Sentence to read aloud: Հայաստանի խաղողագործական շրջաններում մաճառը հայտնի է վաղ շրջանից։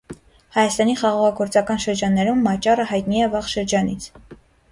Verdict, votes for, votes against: accepted, 2, 0